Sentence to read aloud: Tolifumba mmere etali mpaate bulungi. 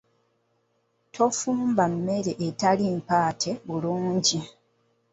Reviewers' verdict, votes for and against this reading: rejected, 1, 2